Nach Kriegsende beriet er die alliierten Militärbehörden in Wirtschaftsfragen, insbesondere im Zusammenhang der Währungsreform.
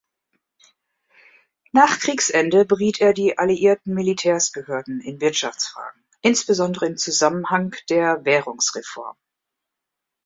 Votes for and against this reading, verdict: 2, 3, rejected